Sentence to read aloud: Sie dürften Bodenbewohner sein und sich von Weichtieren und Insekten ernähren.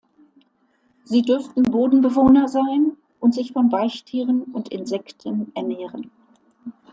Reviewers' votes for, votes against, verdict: 2, 0, accepted